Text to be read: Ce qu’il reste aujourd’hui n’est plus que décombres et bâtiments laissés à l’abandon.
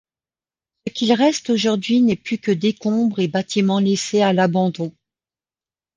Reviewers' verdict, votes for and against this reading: rejected, 0, 3